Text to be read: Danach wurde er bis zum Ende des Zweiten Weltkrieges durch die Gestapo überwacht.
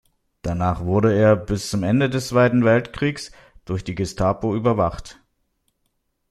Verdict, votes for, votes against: rejected, 1, 2